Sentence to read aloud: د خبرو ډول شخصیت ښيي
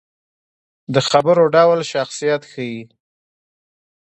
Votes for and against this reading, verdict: 1, 2, rejected